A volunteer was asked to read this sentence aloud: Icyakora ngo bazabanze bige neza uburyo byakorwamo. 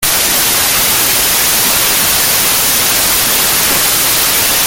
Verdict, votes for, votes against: rejected, 0, 2